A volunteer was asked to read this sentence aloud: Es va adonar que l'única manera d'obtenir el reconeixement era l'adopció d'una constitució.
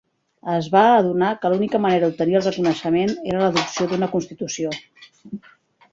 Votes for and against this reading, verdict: 0, 2, rejected